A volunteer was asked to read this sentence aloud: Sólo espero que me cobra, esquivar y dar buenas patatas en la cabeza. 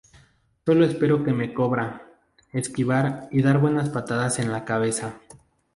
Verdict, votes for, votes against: rejected, 0, 2